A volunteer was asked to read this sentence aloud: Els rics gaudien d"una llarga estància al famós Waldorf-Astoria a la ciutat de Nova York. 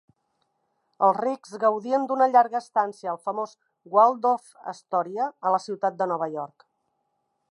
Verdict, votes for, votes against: accepted, 2, 0